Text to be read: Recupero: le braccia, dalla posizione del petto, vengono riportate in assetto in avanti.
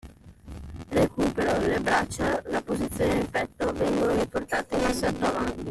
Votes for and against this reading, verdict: 2, 0, accepted